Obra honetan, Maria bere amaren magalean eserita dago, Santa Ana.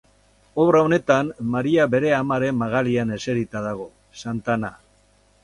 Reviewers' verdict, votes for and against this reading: rejected, 2, 2